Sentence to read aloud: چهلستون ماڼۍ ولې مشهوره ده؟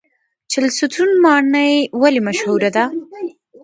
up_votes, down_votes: 0, 2